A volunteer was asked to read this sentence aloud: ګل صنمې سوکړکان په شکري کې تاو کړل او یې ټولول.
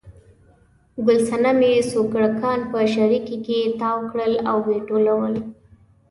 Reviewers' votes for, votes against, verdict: 1, 2, rejected